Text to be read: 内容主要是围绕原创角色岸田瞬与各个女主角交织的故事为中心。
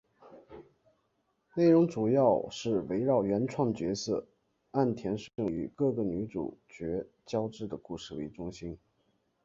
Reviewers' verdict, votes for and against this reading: accepted, 2, 1